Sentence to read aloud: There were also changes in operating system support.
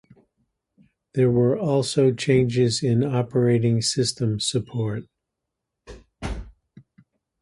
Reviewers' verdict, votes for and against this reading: accepted, 2, 0